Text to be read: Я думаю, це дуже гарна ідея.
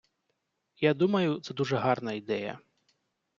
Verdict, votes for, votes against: accepted, 2, 0